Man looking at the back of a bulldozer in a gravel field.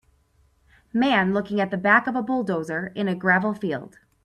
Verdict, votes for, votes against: accepted, 4, 0